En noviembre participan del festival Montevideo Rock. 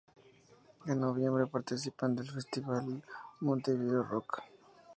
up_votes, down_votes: 2, 0